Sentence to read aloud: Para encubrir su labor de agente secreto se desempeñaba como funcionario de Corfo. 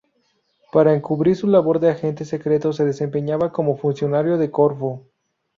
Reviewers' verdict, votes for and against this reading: rejected, 0, 2